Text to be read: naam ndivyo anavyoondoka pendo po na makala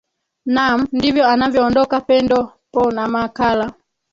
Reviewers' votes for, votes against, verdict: 2, 3, rejected